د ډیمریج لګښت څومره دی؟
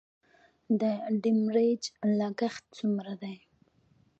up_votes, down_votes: 2, 0